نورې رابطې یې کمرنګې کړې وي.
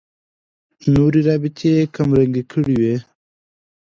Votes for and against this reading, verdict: 2, 0, accepted